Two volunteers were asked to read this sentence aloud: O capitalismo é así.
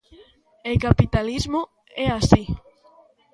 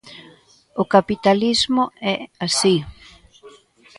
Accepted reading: second